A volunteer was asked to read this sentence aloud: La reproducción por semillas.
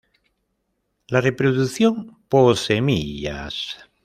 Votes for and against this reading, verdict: 0, 2, rejected